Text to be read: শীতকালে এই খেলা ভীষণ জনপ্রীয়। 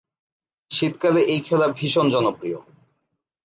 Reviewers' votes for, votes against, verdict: 2, 0, accepted